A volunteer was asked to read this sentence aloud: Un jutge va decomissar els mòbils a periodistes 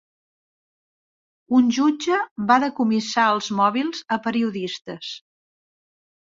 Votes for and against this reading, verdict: 3, 0, accepted